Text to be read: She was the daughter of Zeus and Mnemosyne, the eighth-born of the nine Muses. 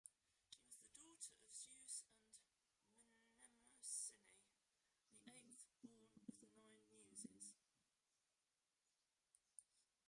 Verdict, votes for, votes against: rejected, 0, 2